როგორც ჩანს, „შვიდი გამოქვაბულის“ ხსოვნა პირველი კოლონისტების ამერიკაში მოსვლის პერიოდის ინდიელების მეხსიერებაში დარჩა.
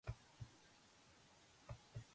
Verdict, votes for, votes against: rejected, 1, 2